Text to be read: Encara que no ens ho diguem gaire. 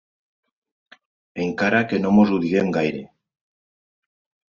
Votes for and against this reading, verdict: 0, 2, rejected